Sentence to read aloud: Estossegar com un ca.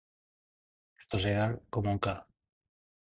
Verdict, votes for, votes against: rejected, 2, 2